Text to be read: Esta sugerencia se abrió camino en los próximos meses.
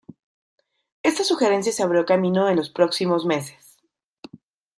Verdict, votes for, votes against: accepted, 2, 0